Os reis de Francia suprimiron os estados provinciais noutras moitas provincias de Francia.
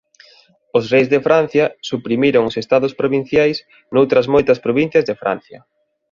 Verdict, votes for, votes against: accepted, 2, 0